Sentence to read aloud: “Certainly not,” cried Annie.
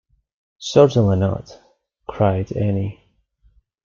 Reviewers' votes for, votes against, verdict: 2, 0, accepted